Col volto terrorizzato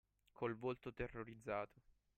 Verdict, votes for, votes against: accepted, 2, 0